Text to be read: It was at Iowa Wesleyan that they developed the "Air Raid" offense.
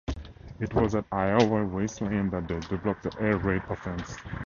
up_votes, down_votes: 2, 0